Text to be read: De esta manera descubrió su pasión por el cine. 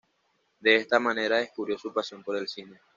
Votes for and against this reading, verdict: 2, 0, accepted